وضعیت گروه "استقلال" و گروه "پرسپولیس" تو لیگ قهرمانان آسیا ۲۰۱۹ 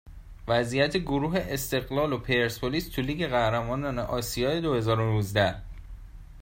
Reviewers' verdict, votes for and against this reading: rejected, 0, 2